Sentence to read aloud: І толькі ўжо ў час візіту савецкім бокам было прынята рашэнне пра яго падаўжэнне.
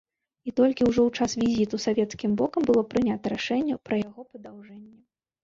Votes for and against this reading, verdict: 1, 2, rejected